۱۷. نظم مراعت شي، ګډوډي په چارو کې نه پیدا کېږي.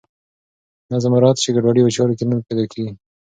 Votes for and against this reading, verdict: 0, 2, rejected